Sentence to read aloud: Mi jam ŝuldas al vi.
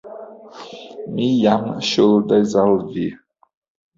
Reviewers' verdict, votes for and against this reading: rejected, 1, 2